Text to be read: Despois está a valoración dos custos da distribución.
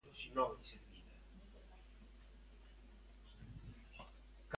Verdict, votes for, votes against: rejected, 0, 2